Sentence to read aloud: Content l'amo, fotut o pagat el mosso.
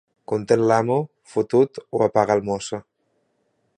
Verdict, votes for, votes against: rejected, 2, 3